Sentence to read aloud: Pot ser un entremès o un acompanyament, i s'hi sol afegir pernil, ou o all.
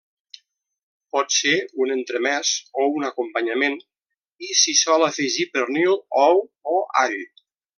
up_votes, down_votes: 2, 0